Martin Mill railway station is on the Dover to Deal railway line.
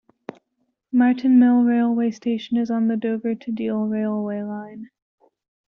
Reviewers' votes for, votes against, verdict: 2, 0, accepted